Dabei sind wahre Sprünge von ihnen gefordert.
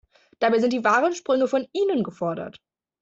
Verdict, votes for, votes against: rejected, 0, 2